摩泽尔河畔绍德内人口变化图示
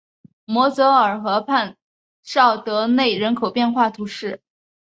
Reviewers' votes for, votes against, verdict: 2, 0, accepted